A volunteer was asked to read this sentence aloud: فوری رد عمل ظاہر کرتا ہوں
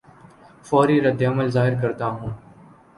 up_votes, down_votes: 2, 0